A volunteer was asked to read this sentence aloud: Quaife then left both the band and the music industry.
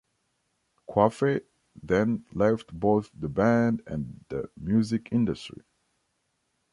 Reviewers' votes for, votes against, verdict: 1, 2, rejected